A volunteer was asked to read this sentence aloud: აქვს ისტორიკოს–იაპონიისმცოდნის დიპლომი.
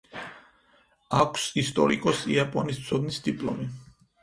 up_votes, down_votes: 0, 4